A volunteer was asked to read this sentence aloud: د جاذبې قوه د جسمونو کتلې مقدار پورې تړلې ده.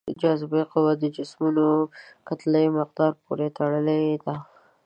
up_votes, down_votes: 1, 2